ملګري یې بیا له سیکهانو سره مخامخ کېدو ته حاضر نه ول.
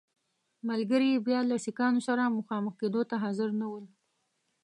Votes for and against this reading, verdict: 1, 2, rejected